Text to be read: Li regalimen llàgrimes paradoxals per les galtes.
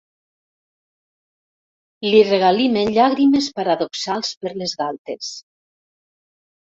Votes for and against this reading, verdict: 2, 0, accepted